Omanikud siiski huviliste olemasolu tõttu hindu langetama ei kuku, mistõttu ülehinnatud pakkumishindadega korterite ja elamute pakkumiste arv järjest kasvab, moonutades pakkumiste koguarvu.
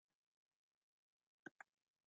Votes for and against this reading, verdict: 0, 2, rejected